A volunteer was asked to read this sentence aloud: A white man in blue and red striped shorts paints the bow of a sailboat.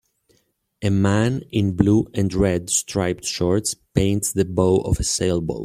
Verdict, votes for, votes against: rejected, 1, 2